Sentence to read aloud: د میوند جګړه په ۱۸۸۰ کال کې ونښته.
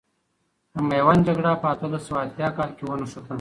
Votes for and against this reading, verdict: 0, 2, rejected